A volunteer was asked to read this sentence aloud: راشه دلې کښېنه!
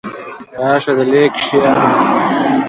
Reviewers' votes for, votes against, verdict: 2, 1, accepted